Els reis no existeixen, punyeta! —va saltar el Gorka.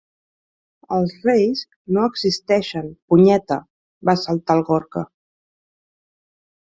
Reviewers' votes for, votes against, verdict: 2, 0, accepted